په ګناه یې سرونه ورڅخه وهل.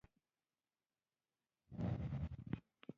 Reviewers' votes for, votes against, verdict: 1, 2, rejected